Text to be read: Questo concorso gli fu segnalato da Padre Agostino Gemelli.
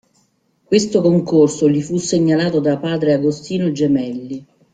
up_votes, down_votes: 2, 0